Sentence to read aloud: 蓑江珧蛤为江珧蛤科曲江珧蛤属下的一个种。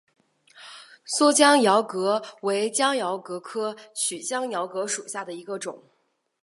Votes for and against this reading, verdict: 3, 0, accepted